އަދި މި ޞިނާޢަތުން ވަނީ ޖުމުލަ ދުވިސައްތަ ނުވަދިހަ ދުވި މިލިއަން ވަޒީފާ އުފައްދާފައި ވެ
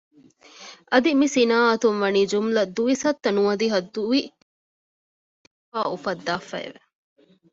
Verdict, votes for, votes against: rejected, 0, 2